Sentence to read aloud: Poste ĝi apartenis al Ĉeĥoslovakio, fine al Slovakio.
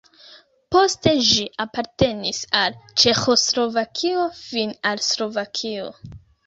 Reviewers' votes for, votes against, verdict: 0, 2, rejected